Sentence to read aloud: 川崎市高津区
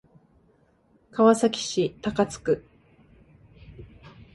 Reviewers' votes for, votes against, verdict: 2, 0, accepted